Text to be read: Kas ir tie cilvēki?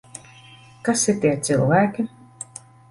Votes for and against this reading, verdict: 2, 0, accepted